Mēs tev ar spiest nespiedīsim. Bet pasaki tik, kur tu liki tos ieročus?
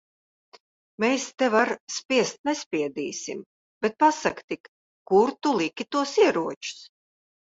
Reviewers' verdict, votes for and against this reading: accepted, 2, 0